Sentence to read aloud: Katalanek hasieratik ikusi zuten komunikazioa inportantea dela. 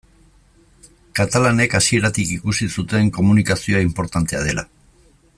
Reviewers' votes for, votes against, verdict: 2, 0, accepted